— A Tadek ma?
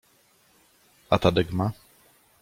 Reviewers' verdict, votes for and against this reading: accepted, 2, 1